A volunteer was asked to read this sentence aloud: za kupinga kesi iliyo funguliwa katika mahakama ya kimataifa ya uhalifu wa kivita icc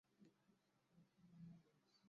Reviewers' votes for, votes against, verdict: 0, 2, rejected